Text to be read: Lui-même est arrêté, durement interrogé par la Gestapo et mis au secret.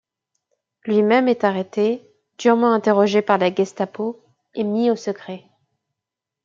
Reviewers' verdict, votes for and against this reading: accepted, 2, 0